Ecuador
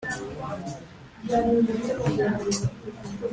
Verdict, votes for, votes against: rejected, 0, 4